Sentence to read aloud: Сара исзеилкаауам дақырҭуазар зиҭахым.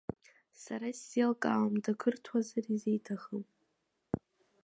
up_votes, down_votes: 2, 1